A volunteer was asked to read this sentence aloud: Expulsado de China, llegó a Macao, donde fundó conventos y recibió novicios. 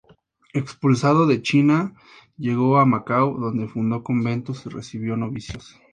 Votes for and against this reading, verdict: 2, 0, accepted